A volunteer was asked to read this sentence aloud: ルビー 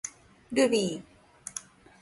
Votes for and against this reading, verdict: 2, 0, accepted